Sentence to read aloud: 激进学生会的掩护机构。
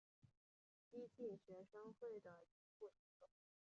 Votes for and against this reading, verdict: 4, 1, accepted